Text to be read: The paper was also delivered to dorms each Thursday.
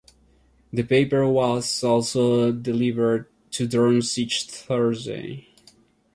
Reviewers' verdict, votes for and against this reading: rejected, 1, 2